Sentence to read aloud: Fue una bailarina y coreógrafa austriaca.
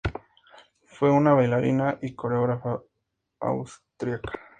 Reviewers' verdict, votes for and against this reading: accepted, 4, 0